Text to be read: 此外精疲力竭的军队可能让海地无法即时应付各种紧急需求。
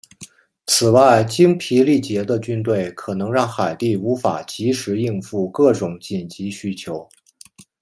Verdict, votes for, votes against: accepted, 2, 0